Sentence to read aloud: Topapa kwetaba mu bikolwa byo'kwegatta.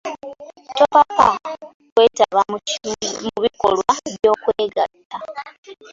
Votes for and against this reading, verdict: 2, 0, accepted